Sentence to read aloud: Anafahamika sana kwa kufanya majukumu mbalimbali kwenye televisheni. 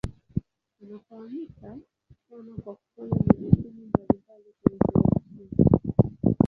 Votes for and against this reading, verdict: 2, 17, rejected